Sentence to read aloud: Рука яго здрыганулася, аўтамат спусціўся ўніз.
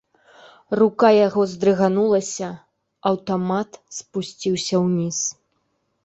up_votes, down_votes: 2, 0